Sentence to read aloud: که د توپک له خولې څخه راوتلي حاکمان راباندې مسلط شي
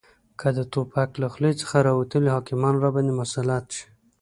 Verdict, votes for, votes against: accepted, 2, 0